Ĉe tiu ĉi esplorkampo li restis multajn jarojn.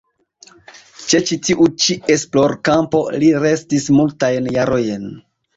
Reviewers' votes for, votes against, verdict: 1, 2, rejected